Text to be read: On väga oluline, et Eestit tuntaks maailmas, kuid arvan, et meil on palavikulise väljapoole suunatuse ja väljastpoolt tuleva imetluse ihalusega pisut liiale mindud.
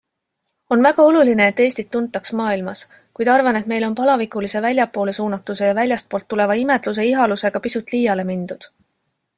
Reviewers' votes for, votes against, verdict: 2, 0, accepted